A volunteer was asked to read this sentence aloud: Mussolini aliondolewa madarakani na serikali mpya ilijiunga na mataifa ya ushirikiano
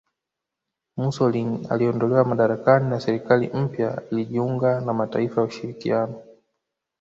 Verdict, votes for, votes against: accepted, 3, 0